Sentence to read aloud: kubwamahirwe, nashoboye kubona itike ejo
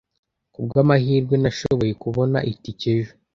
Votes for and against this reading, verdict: 2, 0, accepted